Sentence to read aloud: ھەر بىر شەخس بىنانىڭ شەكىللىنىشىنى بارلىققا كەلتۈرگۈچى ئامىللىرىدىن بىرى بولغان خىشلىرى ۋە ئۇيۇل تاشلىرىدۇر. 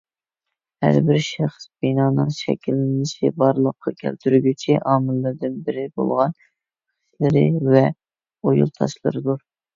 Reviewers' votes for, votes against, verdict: 1, 2, rejected